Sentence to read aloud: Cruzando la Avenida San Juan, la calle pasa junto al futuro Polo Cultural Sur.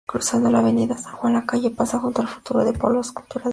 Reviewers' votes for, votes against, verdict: 0, 2, rejected